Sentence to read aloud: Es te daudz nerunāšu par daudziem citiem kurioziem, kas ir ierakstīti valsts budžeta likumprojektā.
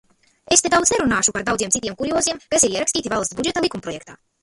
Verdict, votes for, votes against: rejected, 0, 2